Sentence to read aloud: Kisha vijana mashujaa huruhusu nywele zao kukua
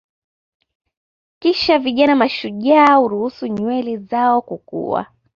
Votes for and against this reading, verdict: 1, 2, rejected